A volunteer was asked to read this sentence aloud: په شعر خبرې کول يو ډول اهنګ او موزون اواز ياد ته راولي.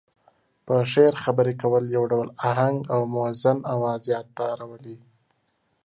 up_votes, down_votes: 2, 0